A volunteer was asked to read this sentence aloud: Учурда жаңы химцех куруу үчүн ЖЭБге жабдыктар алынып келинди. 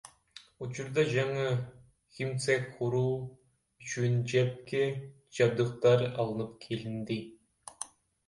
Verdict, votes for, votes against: rejected, 1, 2